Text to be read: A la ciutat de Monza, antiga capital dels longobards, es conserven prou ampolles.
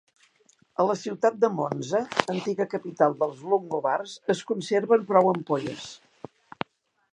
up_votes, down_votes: 2, 0